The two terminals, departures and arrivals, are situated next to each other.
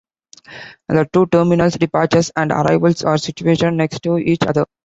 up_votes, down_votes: 2, 0